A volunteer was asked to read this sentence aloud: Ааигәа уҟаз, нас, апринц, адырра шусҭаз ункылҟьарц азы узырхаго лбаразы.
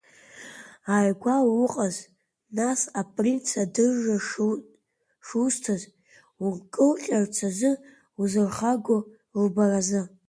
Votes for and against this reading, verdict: 1, 2, rejected